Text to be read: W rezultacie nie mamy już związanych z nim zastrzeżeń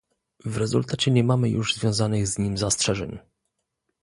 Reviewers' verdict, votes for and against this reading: accepted, 2, 0